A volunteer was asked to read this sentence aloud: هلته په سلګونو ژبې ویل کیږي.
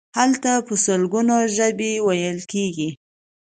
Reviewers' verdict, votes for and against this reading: accepted, 2, 0